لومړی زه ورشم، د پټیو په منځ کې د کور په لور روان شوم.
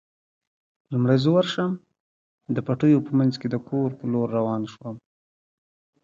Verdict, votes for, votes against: rejected, 1, 2